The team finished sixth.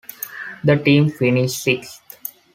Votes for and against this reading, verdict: 2, 0, accepted